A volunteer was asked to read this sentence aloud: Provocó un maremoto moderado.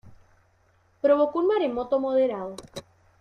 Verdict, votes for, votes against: accepted, 2, 1